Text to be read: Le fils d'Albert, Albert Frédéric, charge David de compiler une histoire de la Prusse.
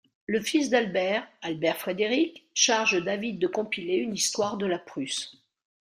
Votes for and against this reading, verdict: 2, 0, accepted